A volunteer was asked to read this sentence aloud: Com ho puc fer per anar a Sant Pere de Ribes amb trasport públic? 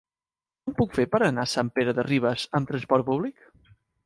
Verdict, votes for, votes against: rejected, 0, 2